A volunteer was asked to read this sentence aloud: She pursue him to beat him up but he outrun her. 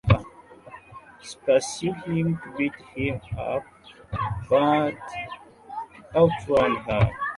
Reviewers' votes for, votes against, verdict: 0, 2, rejected